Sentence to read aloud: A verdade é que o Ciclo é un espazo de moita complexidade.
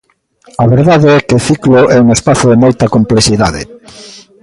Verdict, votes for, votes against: rejected, 0, 2